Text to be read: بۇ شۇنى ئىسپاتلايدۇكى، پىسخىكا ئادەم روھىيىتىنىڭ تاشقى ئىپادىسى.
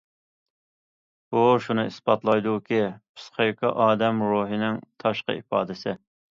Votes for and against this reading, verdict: 0, 2, rejected